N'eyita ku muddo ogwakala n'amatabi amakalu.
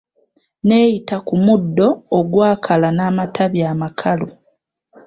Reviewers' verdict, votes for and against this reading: accepted, 2, 0